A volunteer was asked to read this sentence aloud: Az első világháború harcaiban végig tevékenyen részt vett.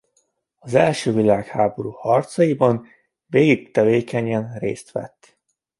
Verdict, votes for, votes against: accepted, 2, 0